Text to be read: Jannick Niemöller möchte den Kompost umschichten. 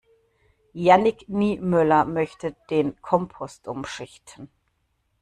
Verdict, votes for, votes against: accepted, 2, 0